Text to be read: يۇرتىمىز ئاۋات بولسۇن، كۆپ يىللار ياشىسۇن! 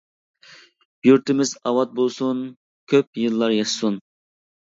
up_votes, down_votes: 2, 0